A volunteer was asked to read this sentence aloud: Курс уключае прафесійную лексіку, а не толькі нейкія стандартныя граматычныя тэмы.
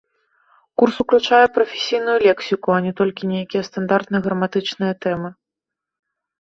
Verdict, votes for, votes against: accepted, 2, 0